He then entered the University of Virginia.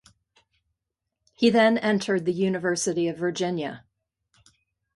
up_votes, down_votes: 2, 0